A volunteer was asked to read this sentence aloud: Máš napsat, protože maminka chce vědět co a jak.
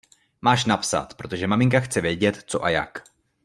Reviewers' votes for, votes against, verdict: 2, 0, accepted